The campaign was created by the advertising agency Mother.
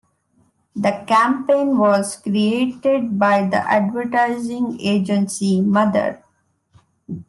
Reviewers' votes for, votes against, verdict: 2, 0, accepted